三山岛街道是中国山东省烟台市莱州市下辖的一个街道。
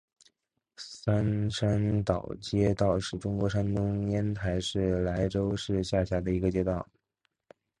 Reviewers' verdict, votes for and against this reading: rejected, 1, 2